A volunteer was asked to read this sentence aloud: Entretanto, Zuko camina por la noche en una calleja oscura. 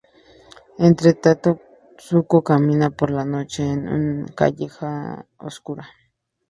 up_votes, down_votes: 0, 2